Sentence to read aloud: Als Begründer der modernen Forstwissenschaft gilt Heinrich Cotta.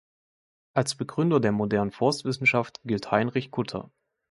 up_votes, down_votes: 0, 2